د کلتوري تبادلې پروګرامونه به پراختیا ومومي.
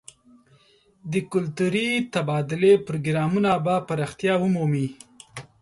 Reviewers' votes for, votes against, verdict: 2, 1, accepted